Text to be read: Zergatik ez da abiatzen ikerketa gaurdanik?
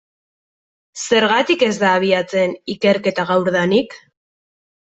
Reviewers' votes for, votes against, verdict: 2, 0, accepted